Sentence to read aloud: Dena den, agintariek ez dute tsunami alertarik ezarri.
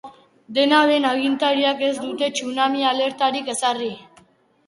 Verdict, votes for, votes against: rejected, 1, 2